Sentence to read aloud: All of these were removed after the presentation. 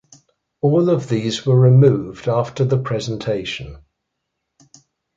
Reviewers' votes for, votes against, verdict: 2, 0, accepted